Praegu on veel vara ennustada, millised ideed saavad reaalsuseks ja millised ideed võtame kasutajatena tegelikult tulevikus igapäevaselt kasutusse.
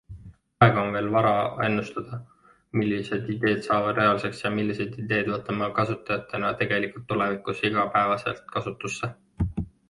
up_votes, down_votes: 2, 1